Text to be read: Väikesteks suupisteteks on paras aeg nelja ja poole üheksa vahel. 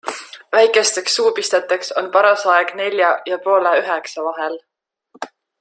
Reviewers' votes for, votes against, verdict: 2, 0, accepted